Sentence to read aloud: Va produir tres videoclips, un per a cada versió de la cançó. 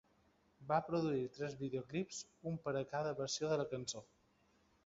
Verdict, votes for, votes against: accepted, 2, 1